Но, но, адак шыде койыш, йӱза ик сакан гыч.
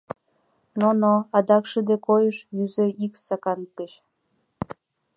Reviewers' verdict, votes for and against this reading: accepted, 2, 0